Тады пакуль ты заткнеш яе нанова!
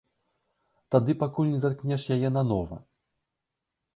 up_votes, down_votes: 0, 2